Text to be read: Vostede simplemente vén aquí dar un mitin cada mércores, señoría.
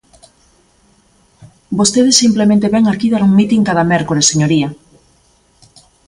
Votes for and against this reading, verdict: 2, 0, accepted